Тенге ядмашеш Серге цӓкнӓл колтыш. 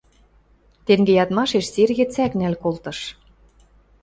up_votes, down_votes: 2, 0